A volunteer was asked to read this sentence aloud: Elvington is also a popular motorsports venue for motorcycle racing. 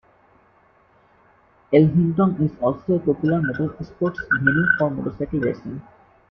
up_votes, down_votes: 0, 2